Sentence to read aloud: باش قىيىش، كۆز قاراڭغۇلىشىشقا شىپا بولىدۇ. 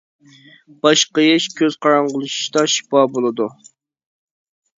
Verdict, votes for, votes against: rejected, 1, 2